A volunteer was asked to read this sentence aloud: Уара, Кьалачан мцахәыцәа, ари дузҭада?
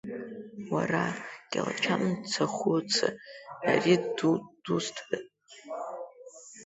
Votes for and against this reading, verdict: 0, 2, rejected